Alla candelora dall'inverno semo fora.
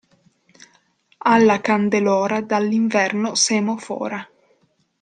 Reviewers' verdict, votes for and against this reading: accepted, 2, 0